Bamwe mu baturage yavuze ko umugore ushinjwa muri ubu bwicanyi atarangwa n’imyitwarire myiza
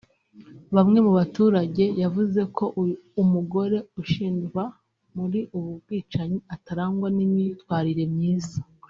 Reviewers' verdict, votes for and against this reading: rejected, 1, 2